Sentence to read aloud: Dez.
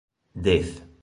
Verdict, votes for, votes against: accepted, 3, 0